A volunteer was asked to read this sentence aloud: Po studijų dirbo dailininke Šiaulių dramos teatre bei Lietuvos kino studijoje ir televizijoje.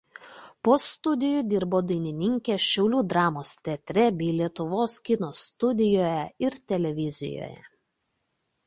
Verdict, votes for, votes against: rejected, 0, 2